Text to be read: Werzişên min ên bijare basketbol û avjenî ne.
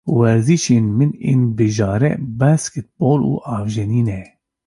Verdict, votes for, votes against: rejected, 1, 2